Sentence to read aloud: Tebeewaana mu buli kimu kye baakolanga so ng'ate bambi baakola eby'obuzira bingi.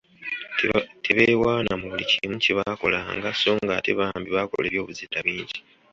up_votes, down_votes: 2, 0